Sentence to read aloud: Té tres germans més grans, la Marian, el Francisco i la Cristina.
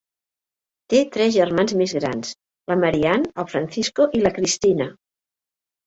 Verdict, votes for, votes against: accepted, 2, 0